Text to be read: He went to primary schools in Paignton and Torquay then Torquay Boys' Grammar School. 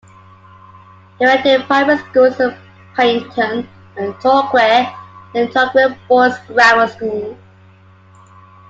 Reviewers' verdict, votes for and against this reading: rejected, 0, 2